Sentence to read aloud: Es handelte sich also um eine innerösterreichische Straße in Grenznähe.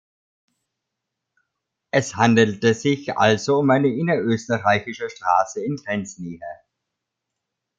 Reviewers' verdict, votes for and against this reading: accepted, 2, 1